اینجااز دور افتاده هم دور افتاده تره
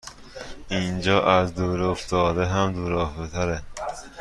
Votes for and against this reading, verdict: 1, 2, rejected